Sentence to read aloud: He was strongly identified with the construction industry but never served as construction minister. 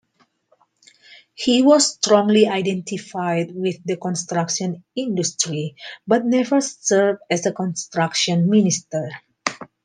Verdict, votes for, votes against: accepted, 2, 0